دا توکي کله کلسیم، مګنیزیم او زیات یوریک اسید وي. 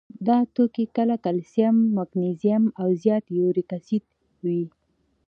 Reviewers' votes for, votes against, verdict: 2, 0, accepted